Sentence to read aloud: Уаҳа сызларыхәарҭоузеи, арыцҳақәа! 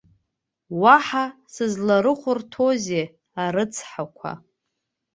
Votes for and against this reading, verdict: 2, 0, accepted